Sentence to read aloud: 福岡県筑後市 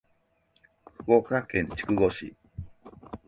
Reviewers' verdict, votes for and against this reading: accepted, 2, 0